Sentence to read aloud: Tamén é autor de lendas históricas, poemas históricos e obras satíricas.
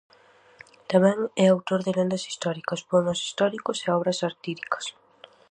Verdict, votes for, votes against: accepted, 4, 0